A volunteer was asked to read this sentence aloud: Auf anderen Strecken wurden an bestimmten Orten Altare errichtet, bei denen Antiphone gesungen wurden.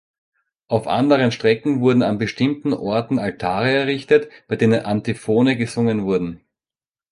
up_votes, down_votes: 2, 0